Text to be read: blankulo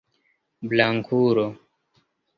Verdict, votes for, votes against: rejected, 1, 2